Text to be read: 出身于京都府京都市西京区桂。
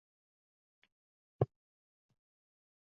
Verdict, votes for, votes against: rejected, 0, 5